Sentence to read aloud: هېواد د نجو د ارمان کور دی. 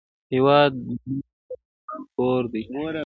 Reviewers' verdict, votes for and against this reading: rejected, 2, 3